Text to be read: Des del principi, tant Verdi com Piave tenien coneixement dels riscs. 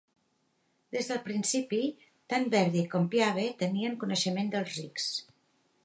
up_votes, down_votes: 0, 2